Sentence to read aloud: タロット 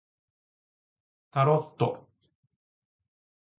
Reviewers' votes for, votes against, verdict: 2, 0, accepted